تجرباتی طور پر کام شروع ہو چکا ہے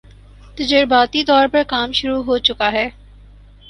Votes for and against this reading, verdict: 4, 0, accepted